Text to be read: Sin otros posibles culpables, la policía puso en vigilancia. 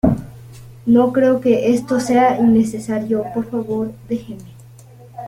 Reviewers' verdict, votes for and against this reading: rejected, 0, 2